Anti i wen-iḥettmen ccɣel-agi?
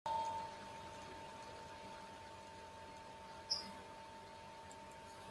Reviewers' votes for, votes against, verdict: 1, 2, rejected